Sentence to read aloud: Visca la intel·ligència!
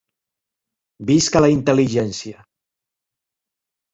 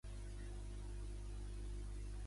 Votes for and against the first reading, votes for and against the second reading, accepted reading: 3, 0, 0, 3, first